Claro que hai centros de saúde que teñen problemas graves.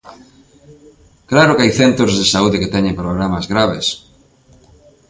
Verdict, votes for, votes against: accepted, 2, 0